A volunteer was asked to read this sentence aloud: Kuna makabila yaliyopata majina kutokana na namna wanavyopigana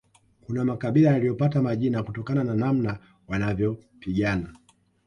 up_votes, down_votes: 2, 0